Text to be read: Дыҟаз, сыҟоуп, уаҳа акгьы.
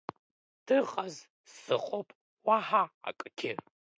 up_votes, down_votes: 3, 2